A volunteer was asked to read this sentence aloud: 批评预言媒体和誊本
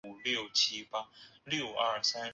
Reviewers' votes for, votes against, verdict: 0, 2, rejected